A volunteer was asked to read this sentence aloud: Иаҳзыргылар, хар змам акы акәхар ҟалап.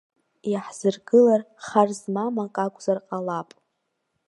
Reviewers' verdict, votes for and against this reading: rejected, 1, 2